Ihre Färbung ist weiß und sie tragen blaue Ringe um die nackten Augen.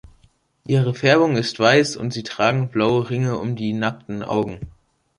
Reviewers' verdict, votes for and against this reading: accepted, 2, 0